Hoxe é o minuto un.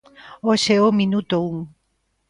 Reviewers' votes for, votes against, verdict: 2, 0, accepted